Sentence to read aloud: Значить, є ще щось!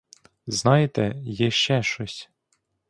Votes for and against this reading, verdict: 0, 2, rejected